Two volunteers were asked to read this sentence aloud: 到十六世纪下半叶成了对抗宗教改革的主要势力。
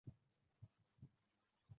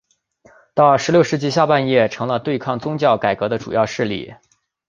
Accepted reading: second